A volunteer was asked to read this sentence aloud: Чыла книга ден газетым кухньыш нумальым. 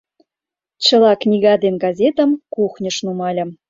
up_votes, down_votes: 2, 0